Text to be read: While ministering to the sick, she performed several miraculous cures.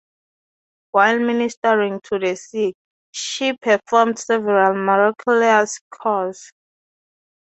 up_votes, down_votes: 0, 6